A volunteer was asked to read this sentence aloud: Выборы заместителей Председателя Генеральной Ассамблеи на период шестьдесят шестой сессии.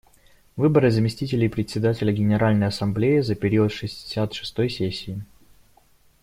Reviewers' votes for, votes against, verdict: 1, 2, rejected